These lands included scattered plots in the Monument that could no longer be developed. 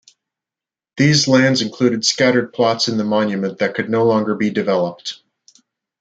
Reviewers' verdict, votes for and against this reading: accepted, 2, 0